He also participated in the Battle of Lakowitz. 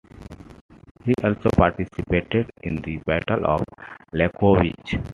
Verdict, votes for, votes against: accepted, 2, 1